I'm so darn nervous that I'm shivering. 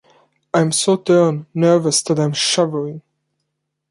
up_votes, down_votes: 2, 0